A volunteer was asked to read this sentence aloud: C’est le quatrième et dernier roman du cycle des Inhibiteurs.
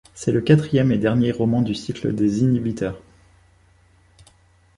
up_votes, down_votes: 2, 0